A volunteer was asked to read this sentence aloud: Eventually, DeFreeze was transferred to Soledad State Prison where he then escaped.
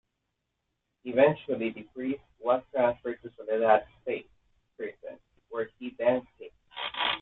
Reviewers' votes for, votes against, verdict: 0, 2, rejected